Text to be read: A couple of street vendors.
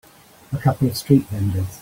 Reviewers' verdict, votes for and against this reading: accepted, 3, 2